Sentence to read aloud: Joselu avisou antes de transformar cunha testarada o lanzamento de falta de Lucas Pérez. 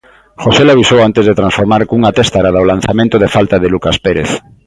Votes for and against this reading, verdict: 1, 2, rejected